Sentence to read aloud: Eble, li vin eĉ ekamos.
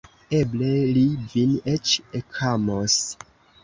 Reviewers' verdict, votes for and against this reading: accepted, 3, 0